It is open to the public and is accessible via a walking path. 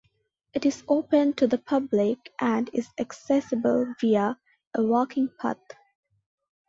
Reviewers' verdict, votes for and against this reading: accepted, 2, 0